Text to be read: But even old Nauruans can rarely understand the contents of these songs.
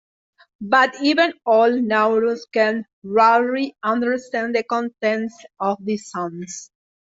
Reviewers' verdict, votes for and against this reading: accepted, 2, 1